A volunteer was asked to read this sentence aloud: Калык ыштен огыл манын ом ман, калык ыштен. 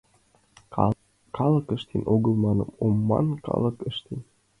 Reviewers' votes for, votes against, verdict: 2, 1, accepted